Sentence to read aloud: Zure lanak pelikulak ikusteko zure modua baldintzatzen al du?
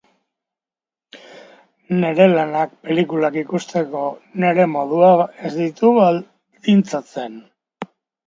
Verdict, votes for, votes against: rejected, 0, 2